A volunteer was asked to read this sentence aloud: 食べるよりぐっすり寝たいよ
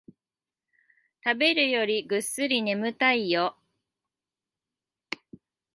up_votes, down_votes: 0, 2